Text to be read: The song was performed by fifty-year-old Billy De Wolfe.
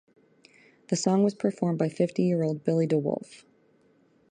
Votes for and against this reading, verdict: 2, 0, accepted